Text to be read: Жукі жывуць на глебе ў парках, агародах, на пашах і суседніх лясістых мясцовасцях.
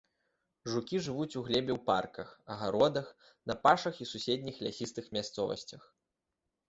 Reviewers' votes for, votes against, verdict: 0, 2, rejected